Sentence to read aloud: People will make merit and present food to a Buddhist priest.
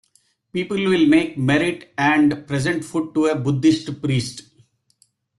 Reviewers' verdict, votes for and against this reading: rejected, 1, 2